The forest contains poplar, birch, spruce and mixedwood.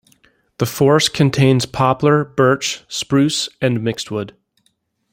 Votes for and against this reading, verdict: 2, 0, accepted